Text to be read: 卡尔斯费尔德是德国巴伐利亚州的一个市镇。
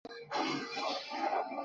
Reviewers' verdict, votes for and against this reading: rejected, 2, 3